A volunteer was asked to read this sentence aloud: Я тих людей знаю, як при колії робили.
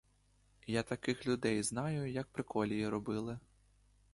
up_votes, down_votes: 0, 2